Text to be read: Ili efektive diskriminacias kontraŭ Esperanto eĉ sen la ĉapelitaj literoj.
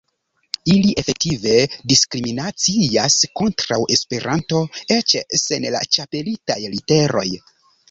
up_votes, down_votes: 1, 2